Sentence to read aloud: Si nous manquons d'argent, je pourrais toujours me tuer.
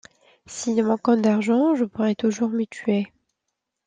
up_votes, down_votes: 2, 1